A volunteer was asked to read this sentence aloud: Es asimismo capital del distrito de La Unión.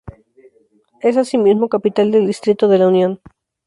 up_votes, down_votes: 4, 0